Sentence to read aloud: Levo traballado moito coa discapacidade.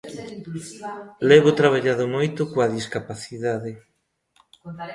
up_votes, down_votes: 0, 2